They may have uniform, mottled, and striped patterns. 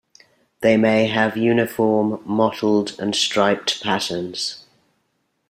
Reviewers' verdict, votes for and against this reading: accepted, 2, 0